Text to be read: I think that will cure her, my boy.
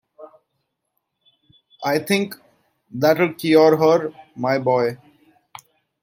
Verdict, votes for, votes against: accepted, 2, 0